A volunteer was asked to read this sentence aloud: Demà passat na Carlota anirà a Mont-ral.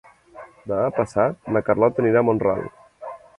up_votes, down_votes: 2, 3